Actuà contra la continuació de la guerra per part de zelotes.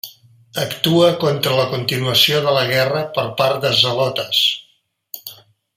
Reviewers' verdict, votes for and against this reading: rejected, 0, 2